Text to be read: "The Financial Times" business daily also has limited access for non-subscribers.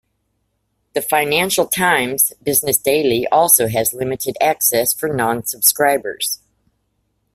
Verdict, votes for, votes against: accepted, 2, 0